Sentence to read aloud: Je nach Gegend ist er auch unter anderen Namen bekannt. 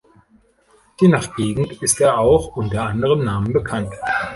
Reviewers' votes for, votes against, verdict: 2, 0, accepted